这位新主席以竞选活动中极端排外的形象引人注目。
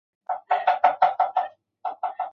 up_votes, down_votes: 0, 2